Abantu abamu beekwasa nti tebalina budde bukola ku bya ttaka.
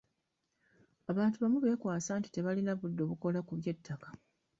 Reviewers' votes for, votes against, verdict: 2, 1, accepted